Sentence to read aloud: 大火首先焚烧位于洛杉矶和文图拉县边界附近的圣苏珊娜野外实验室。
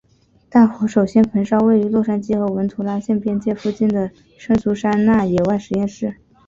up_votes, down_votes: 3, 2